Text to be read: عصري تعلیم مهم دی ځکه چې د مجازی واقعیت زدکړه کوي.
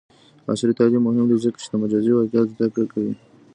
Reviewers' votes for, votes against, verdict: 0, 2, rejected